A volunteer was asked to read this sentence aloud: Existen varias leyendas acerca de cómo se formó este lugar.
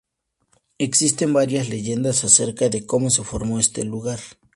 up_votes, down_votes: 2, 0